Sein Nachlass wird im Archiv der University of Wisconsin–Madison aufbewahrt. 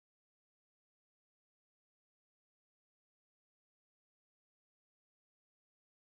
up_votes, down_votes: 0, 4